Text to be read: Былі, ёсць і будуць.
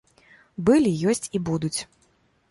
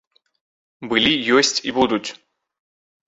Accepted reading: second